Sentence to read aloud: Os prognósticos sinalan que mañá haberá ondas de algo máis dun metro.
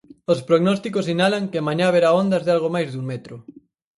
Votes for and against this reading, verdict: 4, 0, accepted